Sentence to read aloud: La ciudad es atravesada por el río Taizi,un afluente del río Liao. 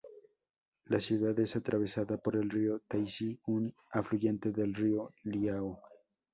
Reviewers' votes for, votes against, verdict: 2, 2, rejected